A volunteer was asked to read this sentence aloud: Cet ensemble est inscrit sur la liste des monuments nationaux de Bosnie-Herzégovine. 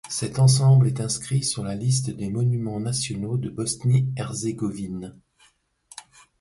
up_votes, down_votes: 2, 0